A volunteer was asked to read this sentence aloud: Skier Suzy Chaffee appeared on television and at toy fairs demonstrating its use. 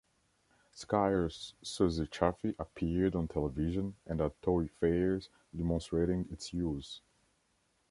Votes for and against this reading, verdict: 1, 2, rejected